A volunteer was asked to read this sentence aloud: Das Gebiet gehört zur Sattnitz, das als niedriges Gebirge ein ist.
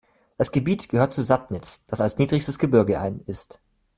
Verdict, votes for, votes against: rejected, 0, 2